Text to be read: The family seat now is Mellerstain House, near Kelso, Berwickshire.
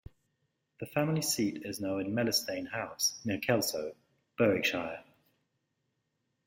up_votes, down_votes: 3, 1